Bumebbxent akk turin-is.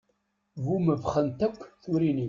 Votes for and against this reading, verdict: 1, 2, rejected